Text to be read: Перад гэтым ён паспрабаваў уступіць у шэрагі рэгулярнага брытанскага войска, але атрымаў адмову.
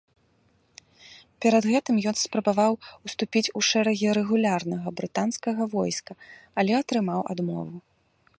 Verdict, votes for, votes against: rejected, 1, 3